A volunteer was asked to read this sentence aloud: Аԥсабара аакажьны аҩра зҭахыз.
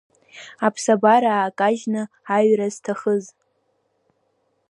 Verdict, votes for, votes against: rejected, 1, 2